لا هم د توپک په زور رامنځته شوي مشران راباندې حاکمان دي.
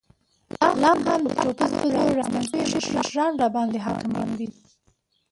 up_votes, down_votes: 0, 2